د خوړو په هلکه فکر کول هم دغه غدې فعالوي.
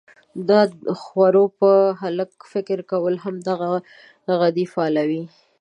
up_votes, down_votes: 0, 2